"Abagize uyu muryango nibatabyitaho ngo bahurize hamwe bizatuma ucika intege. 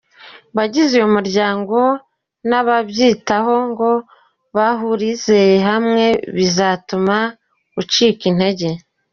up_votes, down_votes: 1, 2